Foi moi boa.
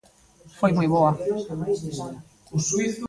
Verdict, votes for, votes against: rejected, 0, 2